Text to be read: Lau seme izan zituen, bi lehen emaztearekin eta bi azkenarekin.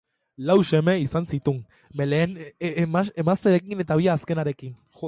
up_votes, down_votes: 0, 2